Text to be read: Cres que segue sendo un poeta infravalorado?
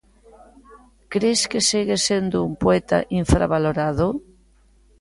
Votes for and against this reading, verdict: 2, 0, accepted